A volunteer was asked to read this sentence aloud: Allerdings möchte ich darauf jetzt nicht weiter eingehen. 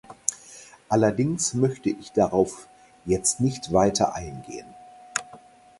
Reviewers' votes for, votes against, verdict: 4, 0, accepted